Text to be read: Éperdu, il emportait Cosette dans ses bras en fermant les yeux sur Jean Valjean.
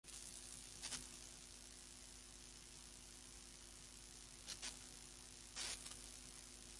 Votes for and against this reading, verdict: 0, 2, rejected